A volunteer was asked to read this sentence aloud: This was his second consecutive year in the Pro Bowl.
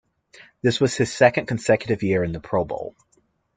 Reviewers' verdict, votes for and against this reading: accepted, 2, 1